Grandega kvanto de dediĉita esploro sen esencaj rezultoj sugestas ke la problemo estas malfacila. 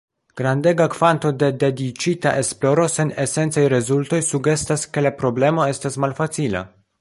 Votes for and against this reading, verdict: 2, 1, accepted